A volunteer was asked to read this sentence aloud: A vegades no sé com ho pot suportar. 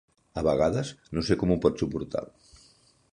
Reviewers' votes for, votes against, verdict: 4, 0, accepted